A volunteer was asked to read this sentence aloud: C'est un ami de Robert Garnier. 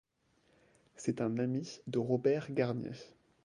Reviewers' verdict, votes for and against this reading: rejected, 1, 2